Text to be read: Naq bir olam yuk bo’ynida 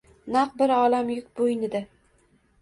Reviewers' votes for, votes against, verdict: 0, 2, rejected